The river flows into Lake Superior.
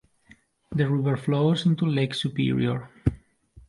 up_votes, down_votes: 2, 0